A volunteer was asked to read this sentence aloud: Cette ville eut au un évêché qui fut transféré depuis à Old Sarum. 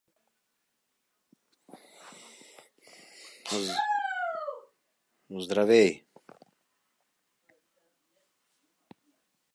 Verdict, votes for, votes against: rejected, 0, 2